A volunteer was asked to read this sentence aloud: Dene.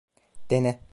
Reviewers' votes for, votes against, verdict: 2, 0, accepted